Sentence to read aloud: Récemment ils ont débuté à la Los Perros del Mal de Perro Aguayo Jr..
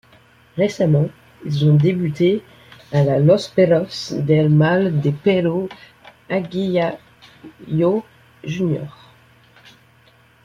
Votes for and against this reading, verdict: 0, 2, rejected